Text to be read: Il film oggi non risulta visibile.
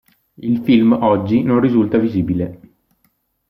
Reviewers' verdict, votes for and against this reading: accepted, 2, 0